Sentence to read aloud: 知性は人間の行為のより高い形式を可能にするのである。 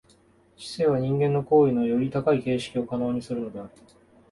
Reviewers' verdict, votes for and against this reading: accepted, 2, 0